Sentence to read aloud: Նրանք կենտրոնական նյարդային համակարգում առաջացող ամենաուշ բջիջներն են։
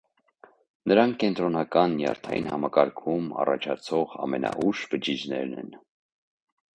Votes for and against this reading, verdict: 2, 0, accepted